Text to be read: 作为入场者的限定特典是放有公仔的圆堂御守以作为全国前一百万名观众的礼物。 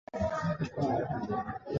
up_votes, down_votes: 0, 3